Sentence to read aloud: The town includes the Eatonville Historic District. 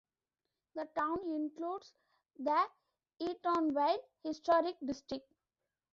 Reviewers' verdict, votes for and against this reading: accepted, 2, 1